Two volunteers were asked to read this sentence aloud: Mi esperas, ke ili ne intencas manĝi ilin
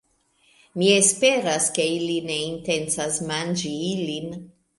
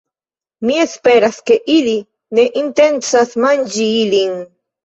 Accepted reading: first